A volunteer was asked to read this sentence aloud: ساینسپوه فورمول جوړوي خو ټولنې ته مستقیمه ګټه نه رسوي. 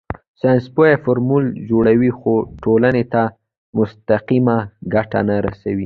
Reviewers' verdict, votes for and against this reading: rejected, 1, 2